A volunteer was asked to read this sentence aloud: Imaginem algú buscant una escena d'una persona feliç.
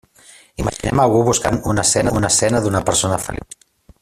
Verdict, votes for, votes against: rejected, 0, 2